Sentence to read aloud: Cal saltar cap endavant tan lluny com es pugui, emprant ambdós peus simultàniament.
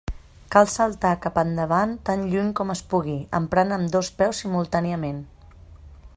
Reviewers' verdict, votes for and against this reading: accepted, 3, 1